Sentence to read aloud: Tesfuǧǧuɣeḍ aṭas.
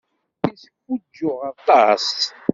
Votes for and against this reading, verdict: 1, 2, rejected